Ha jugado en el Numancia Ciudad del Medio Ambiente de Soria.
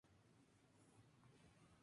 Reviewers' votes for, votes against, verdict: 0, 2, rejected